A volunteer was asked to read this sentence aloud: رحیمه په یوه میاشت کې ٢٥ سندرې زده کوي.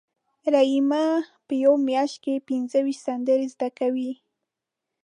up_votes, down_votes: 0, 2